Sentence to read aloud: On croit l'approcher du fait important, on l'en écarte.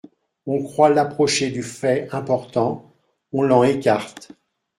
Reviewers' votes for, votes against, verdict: 1, 2, rejected